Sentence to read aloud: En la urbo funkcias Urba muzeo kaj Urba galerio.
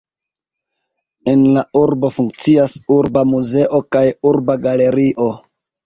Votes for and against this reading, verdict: 1, 2, rejected